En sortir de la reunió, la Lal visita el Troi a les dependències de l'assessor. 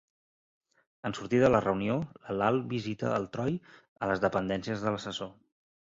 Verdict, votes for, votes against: rejected, 1, 2